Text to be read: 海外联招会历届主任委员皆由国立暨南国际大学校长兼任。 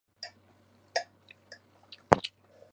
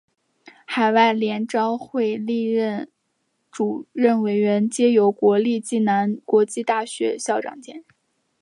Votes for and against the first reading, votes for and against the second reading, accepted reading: 0, 2, 3, 0, second